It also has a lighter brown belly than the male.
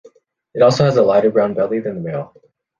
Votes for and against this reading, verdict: 2, 0, accepted